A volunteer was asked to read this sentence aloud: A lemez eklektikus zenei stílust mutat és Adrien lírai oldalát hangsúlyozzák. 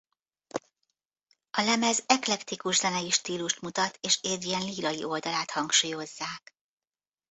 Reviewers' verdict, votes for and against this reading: accepted, 2, 0